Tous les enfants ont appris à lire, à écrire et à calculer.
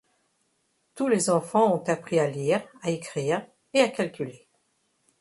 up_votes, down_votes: 2, 0